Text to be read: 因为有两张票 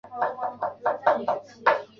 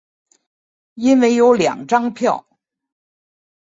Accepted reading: second